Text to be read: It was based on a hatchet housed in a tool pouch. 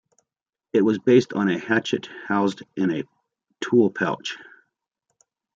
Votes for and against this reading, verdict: 2, 0, accepted